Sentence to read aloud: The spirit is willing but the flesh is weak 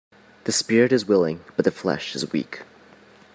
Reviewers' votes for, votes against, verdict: 2, 0, accepted